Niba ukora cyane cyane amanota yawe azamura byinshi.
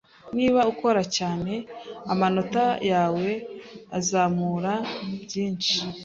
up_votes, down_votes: 1, 2